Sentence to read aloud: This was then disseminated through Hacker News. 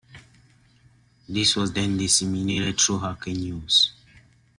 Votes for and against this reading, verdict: 0, 2, rejected